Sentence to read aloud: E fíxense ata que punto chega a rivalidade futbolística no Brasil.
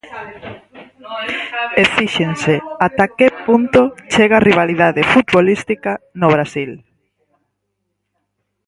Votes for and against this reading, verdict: 2, 4, rejected